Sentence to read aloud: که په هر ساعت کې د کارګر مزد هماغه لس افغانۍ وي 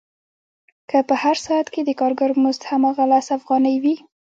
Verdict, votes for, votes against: accepted, 2, 0